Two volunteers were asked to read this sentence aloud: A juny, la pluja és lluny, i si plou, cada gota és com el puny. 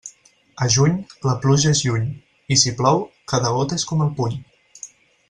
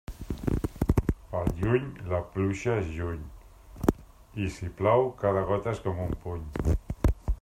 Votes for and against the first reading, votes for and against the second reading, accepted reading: 4, 0, 1, 2, first